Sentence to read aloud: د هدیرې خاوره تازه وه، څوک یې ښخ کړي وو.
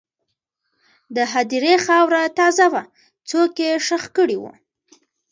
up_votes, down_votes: 1, 2